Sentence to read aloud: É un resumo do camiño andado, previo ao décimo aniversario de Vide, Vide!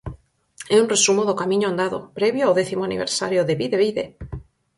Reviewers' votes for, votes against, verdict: 4, 0, accepted